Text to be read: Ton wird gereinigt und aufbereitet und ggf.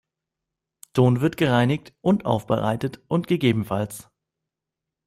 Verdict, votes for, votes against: accepted, 2, 0